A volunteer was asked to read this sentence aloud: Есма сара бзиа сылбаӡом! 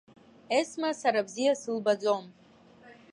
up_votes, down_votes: 2, 1